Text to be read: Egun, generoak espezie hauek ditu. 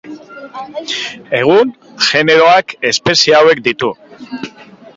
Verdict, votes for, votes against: accepted, 2, 0